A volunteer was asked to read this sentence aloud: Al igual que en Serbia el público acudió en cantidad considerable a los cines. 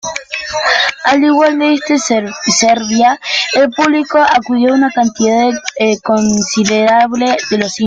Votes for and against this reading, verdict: 0, 2, rejected